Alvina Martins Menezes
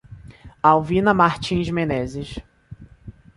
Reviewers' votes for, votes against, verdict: 2, 0, accepted